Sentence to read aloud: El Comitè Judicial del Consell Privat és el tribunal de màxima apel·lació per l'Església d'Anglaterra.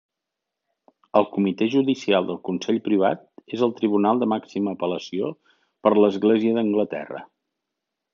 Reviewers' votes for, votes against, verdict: 3, 0, accepted